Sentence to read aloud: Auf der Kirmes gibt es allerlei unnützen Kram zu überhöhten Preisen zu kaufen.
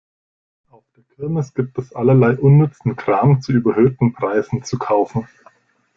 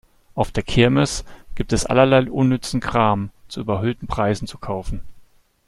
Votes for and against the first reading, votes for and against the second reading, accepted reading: 0, 2, 2, 0, second